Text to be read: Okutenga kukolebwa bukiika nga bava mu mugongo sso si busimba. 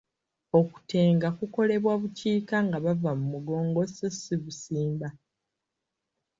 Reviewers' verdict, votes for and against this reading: rejected, 1, 2